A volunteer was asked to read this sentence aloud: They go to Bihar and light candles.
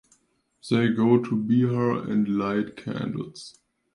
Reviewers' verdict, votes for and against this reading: accepted, 2, 0